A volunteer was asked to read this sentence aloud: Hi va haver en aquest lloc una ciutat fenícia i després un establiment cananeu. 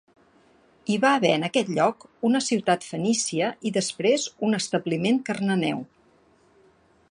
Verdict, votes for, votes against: rejected, 0, 2